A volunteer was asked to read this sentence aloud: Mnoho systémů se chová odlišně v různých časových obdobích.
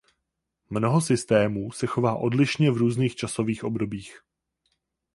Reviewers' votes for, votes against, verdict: 4, 0, accepted